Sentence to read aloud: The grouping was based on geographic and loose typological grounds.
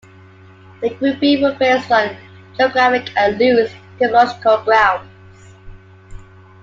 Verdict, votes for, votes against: accepted, 2, 1